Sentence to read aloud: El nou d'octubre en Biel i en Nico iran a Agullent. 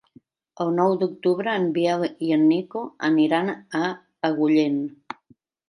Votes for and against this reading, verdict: 1, 2, rejected